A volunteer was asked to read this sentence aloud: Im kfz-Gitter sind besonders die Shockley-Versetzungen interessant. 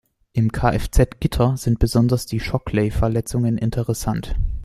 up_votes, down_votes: 0, 2